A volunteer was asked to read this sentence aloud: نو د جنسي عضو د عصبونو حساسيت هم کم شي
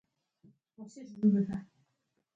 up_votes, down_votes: 1, 2